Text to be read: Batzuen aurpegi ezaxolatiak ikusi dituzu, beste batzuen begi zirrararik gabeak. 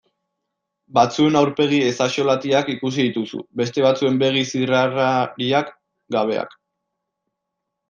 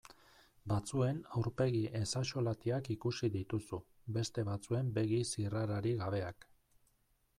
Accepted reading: second